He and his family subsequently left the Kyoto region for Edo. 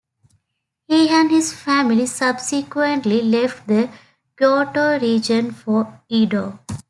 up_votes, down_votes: 2, 1